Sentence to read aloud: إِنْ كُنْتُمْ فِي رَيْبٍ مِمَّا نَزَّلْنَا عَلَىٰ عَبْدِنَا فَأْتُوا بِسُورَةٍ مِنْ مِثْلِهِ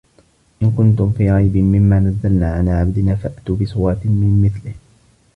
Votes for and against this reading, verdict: 2, 0, accepted